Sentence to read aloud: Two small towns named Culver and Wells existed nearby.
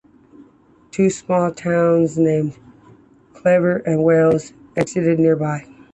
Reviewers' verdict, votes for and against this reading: rejected, 0, 2